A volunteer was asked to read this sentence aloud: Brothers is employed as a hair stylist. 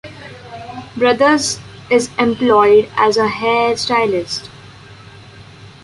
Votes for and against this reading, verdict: 2, 0, accepted